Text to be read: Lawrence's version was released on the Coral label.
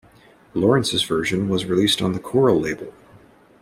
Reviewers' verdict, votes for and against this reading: accepted, 2, 0